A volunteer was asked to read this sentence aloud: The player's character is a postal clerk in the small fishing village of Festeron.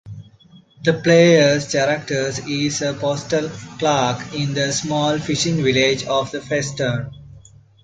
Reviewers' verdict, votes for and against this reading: rejected, 1, 2